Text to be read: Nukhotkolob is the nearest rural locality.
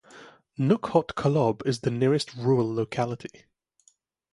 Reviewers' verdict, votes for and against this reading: rejected, 0, 3